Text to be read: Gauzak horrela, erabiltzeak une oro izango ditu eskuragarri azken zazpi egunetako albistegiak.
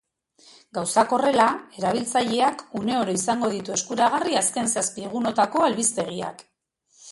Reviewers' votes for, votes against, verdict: 2, 0, accepted